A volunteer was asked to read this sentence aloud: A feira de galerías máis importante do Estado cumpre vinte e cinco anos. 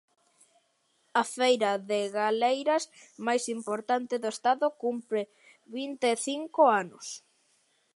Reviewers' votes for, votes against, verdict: 0, 2, rejected